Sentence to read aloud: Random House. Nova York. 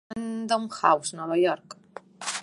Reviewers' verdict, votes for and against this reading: rejected, 1, 2